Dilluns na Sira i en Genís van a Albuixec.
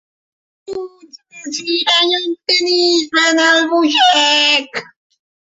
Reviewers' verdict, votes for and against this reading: rejected, 0, 2